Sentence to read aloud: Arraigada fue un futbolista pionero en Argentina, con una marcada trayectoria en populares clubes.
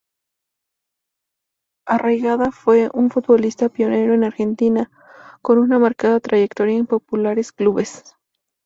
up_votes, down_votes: 2, 0